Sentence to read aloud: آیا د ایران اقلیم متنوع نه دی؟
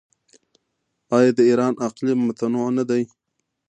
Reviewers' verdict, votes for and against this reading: accepted, 2, 0